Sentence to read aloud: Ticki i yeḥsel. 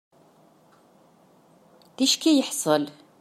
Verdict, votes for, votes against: accepted, 2, 0